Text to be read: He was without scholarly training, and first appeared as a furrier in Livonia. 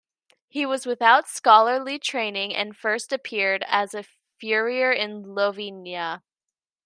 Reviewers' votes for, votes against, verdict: 1, 2, rejected